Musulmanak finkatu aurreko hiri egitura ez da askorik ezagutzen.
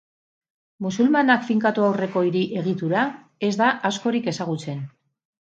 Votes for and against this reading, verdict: 6, 0, accepted